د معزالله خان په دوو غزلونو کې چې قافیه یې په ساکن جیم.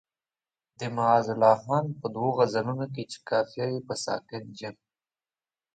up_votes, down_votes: 2, 0